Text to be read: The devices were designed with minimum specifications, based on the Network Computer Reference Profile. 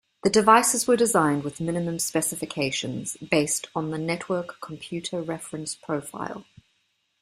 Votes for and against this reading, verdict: 2, 0, accepted